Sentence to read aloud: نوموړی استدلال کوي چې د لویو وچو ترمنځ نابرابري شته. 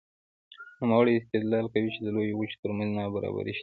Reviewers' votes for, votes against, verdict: 2, 0, accepted